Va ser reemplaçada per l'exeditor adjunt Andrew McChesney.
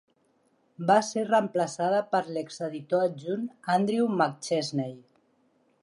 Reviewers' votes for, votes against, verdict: 4, 0, accepted